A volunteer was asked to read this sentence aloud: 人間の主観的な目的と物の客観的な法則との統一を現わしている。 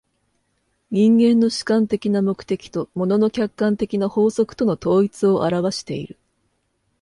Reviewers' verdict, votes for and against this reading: accepted, 2, 0